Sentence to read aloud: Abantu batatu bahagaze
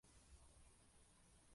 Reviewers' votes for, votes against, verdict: 0, 2, rejected